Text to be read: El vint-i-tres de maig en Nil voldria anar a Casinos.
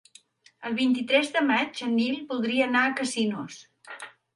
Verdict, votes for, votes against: accepted, 3, 0